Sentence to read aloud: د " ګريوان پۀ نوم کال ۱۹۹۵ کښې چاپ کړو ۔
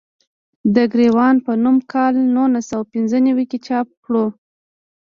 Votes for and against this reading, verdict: 0, 2, rejected